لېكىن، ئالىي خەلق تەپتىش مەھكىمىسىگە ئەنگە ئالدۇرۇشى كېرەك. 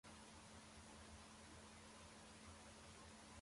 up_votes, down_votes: 0, 2